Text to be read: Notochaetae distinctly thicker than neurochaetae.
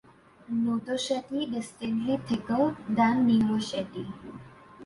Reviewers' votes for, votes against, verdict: 1, 2, rejected